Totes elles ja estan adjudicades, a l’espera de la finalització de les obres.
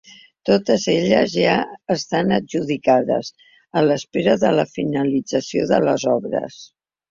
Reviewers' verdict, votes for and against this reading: accepted, 3, 0